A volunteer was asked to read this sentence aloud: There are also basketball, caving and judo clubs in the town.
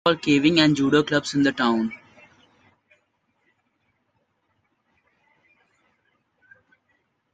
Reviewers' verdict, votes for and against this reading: rejected, 0, 2